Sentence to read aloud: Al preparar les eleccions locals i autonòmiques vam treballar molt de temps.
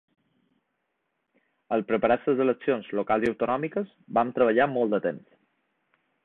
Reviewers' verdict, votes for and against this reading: rejected, 0, 2